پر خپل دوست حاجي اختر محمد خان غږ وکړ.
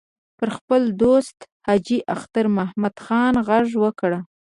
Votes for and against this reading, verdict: 0, 2, rejected